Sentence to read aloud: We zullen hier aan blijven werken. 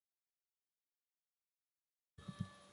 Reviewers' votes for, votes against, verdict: 0, 2, rejected